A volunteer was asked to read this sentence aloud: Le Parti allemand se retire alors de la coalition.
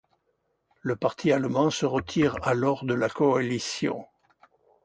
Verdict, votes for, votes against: accepted, 2, 0